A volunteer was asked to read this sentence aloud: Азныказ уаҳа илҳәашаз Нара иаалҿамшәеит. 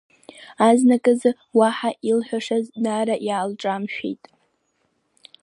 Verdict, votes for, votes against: accepted, 2, 1